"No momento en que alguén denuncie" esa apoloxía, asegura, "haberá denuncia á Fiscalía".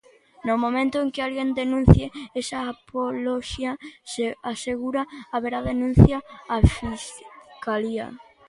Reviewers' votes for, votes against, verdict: 1, 2, rejected